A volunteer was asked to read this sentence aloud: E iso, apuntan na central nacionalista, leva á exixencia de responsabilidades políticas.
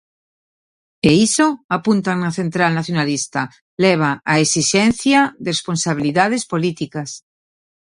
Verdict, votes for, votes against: rejected, 0, 2